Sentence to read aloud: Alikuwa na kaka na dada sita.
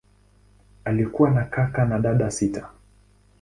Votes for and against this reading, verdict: 2, 0, accepted